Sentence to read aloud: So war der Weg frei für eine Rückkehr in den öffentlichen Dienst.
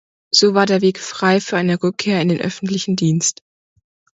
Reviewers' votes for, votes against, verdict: 2, 0, accepted